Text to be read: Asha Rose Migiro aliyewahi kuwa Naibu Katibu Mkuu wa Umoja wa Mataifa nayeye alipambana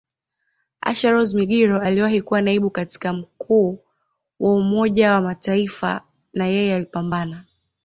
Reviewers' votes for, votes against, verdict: 1, 2, rejected